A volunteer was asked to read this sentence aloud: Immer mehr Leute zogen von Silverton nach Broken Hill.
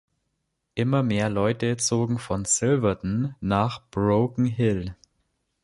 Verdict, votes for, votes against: accepted, 2, 0